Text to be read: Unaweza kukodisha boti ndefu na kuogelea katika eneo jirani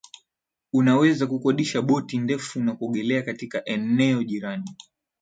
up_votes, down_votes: 2, 2